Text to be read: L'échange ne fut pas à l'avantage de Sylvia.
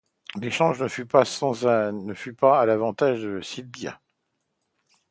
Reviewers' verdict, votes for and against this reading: rejected, 0, 2